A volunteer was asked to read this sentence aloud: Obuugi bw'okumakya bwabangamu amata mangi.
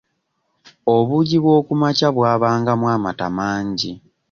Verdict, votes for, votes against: accepted, 2, 0